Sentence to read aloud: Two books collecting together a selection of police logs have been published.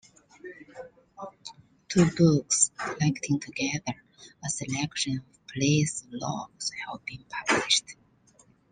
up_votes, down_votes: 2, 1